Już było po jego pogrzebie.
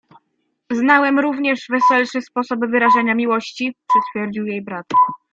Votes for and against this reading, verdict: 0, 2, rejected